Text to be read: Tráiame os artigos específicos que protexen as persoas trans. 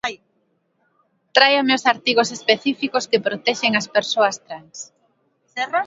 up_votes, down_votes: 1, 2